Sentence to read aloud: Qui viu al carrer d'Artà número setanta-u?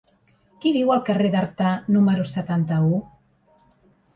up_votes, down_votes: 3, 0